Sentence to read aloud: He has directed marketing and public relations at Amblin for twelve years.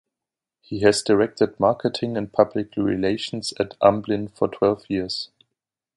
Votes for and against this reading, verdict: 2, 0, accepted